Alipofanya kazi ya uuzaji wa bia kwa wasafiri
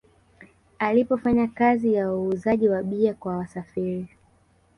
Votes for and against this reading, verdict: 1, 2, rejected